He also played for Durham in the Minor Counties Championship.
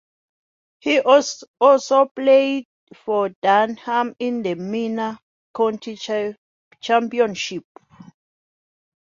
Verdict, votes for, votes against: rejected, 1, 5